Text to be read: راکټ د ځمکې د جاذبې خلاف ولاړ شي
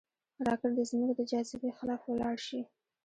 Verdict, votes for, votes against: rejected, 0, 2